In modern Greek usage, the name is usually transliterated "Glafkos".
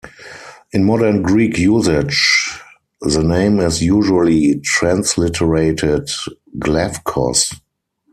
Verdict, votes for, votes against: accepted, 4, 0